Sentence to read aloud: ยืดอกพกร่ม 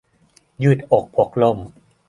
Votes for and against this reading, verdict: 2, 0, accepted